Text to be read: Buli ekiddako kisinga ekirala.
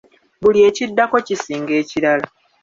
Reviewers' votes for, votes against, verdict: 2, 1, accepted